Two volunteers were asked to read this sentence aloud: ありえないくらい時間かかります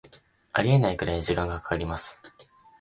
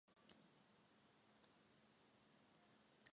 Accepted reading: first